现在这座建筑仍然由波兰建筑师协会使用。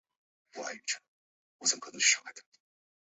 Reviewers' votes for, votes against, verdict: 0, 2, rejected